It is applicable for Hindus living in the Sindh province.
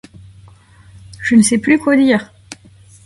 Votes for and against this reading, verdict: 0, 2, rejected